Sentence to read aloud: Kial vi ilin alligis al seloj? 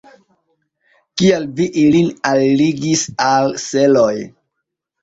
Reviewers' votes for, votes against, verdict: 2, 0, accepted